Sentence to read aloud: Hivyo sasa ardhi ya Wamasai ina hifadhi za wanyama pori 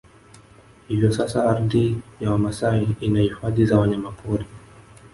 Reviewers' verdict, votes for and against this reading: rejected, 1, 2